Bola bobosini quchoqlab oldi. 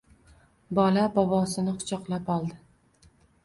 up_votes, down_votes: 2, 0